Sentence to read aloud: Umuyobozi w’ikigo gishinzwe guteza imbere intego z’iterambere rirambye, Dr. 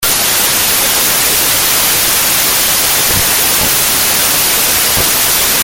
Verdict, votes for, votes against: rejected, 0, 2